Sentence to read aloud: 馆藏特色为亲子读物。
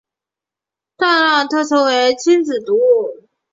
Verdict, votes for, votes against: rejected, 3, 5